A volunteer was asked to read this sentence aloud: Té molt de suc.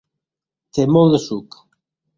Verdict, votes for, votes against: accepted, 2, 0